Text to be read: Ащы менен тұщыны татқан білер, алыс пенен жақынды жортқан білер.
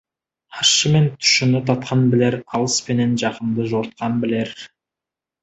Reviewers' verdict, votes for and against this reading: accepted, 2, 0